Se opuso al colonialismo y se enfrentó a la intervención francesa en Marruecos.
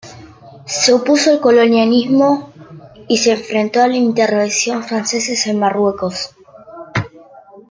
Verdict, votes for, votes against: rejected, 1, 2